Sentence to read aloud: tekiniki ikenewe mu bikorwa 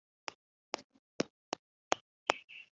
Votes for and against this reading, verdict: 1, 2, rejected